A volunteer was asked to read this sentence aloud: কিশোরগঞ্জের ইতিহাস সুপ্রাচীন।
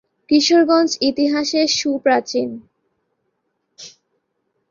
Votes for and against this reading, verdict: 1, 4, rejected